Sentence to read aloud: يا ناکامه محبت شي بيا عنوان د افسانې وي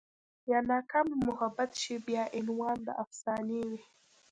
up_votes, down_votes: 0, 2